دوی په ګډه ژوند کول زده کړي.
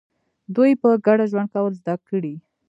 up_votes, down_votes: 0, 2